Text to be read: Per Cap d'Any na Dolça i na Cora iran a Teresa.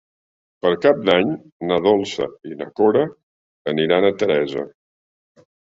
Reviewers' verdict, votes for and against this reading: rejected, 0, 2